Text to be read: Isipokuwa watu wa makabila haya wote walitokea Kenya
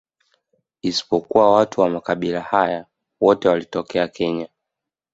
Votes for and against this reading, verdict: 0, 2, rejected